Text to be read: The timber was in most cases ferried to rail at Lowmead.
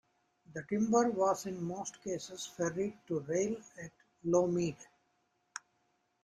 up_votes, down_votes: 2, 1